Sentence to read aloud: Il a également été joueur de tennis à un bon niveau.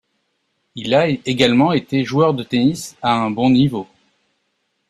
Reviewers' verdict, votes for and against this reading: rejected, 0, 2